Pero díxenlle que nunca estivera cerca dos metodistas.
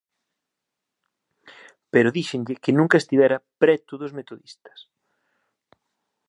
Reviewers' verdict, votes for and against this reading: rejected, 0, 2